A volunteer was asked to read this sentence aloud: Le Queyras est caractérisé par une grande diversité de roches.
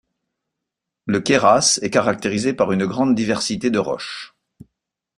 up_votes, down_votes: 2, 0